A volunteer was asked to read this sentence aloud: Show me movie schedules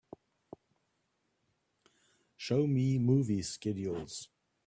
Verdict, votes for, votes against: accepted, 2, 0